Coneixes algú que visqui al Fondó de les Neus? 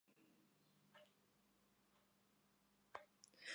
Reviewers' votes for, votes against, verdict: 0, 2, rejected